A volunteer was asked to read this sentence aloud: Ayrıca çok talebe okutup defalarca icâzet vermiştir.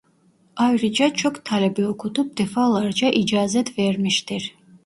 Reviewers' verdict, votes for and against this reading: accepted, 2, 0